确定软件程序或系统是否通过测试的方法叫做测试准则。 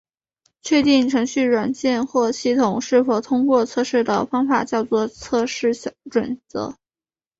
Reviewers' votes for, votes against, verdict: 0, 2, rejected